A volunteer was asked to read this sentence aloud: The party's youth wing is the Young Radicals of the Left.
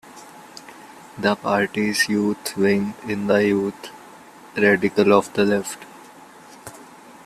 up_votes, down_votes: 2, 1